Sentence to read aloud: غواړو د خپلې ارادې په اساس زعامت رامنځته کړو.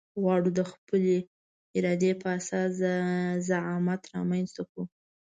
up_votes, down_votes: 2, 0